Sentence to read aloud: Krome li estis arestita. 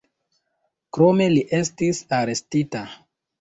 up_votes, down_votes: 2, 0